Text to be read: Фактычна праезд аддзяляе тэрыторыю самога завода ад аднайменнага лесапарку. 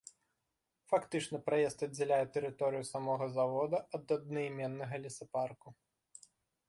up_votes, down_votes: 2, 0